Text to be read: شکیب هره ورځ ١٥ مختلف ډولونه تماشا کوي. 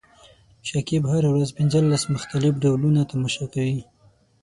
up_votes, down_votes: 0, 2